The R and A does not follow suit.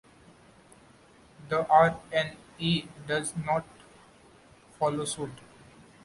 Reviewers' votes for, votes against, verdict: 2, 0, accepted